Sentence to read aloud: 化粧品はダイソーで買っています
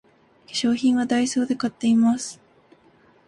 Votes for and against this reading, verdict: 3, 0, accepted